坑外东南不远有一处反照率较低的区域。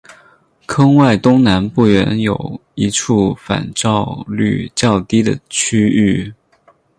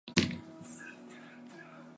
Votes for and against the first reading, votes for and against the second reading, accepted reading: 8, 0, 4, 5, first